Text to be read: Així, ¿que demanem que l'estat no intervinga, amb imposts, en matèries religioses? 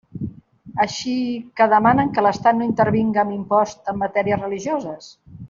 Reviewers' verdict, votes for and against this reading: rejected, 1, 2